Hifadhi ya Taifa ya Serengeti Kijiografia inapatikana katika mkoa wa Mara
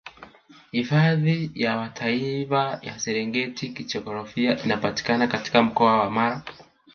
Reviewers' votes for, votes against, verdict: 2, 1, accepted